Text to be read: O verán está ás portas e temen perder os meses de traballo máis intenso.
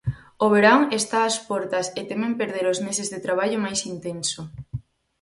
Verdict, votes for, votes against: accepted, 4, 0